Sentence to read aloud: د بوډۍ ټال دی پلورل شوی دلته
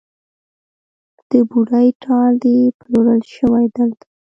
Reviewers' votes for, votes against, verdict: 0, 2, rejected